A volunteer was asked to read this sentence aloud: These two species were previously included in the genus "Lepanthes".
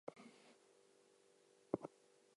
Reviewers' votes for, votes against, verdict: 0, 2, rejected